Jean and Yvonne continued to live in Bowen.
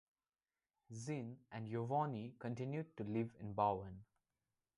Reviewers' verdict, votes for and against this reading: accepted, 2, 1